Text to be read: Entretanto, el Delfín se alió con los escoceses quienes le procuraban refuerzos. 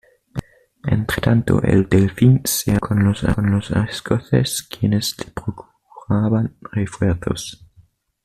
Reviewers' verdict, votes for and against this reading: rejected, 1, 2